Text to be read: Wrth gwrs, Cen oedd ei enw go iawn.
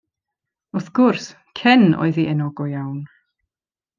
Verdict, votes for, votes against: accepted, 2, 0